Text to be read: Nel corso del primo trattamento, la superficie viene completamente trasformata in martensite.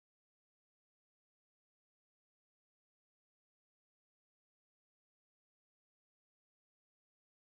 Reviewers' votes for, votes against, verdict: 0, 2, rejected